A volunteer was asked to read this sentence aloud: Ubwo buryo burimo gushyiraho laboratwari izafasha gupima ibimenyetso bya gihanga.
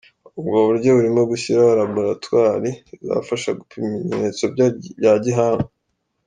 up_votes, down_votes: 0, 2